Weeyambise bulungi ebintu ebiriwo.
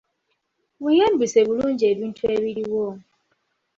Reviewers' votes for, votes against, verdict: 0, 2, rejected